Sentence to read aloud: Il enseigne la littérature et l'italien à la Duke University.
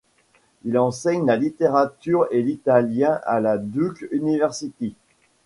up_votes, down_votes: 1, 2